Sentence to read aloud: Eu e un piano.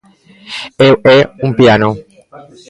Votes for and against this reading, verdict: 1, 2, rejected